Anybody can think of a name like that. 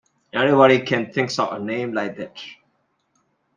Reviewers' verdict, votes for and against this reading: rejected, 0, 2